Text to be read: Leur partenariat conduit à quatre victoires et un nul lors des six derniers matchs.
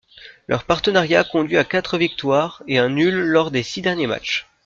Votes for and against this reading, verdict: 2, 1, accepted